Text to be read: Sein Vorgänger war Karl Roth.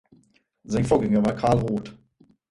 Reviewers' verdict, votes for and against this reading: rejected, 2, 4